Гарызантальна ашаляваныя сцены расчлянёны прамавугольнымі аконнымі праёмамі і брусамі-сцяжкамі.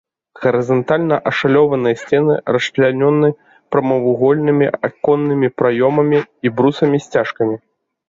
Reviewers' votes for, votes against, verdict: 0, 2, rejected